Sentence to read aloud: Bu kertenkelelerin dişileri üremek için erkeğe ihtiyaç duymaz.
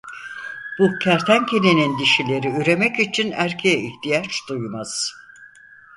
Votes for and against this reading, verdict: 0, 4, rejected